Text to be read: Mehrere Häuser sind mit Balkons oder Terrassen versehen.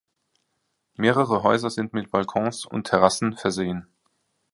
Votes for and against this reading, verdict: 0, 2, rejected